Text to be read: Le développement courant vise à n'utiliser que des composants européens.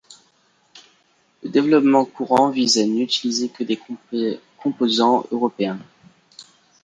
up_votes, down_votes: 2, 3